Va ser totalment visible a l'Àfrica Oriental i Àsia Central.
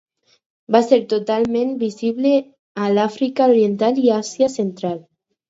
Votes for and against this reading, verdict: 4, 0, accepted